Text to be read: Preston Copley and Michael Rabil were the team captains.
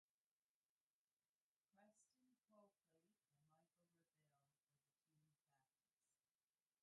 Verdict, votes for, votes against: rejected, 0, 2